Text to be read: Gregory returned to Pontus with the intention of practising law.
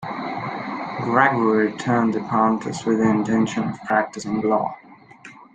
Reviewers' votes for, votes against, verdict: 2, 0, accepted